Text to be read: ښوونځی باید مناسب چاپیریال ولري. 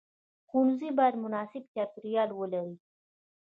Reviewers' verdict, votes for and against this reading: accepted, 2, 0